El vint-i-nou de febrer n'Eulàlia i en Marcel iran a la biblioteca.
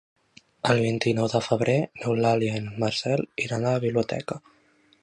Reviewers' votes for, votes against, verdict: 3, 0, accepted